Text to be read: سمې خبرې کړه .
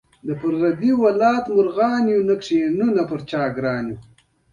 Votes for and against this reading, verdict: 1, 2, rejected